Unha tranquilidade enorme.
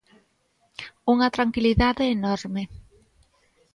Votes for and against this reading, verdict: 2, 0, accepted